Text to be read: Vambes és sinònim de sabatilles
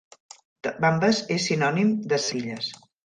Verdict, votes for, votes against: rejected, 0, 2